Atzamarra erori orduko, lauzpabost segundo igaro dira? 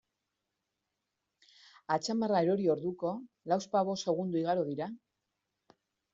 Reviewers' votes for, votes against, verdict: 2, 0, accepted